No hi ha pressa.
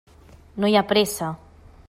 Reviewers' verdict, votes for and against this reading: accepted, 3, 0